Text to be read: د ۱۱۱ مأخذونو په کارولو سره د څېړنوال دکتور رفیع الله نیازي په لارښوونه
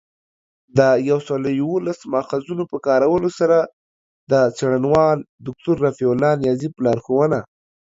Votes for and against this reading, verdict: 0, 2, rejected